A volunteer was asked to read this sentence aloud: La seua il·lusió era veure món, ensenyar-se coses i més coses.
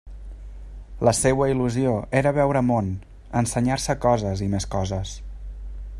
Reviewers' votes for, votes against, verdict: 3, 0, accepted